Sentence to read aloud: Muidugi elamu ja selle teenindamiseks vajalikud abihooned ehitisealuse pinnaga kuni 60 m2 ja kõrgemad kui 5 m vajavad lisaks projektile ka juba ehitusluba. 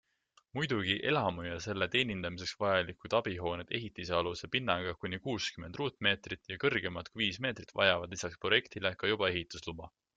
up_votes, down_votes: 0, 2